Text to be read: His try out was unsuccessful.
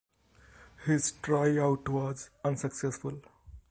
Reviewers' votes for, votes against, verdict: 1, 2, rejected